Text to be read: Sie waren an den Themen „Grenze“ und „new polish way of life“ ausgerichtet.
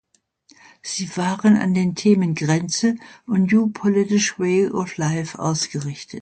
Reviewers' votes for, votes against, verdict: 0, 2, rejected